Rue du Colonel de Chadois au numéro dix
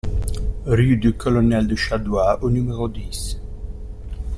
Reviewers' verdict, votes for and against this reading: accepted, 2, 0